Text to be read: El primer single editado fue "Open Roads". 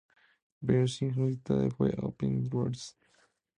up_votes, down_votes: 2, 4